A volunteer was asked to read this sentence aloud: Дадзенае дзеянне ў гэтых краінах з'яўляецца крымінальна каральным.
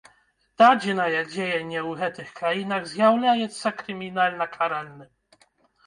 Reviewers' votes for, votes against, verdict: 0, 2, rejected